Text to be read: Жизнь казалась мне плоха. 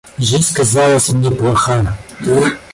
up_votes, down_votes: 1, 2